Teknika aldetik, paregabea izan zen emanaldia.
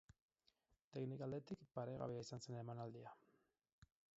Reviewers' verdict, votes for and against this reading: rejected, 0, 8